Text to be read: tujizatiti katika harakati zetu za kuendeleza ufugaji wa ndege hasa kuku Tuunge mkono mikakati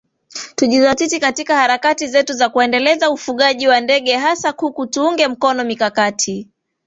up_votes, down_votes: 3, 0